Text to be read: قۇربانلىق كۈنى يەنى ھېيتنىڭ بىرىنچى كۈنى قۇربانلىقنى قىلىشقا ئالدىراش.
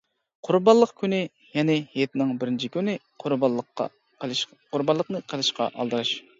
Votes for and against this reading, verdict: 0, 2, rejected